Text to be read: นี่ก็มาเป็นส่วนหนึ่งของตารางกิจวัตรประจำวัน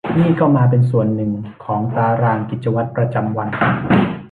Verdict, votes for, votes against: rejected, 1, 2